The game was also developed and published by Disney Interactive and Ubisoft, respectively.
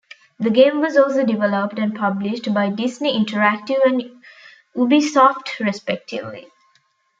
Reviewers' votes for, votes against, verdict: 1, 2, rejected